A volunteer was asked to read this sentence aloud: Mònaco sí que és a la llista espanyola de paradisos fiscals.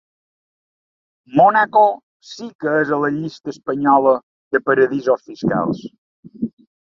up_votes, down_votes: 2, 1